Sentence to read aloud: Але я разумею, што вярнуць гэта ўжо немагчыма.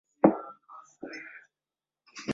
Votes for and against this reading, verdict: 0, 2, rejected